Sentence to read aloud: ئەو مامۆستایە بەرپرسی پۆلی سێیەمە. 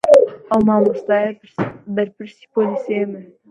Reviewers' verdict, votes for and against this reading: rejected, 0, 2